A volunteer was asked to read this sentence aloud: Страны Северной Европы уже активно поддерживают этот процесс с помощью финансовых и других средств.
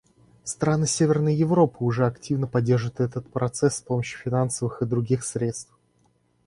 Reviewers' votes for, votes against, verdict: 2, 0, accepted